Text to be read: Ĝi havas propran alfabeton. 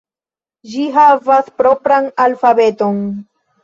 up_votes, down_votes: 2, 0